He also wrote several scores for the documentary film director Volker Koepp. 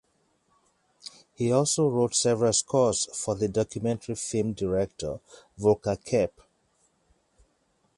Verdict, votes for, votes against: accepted, 4, 0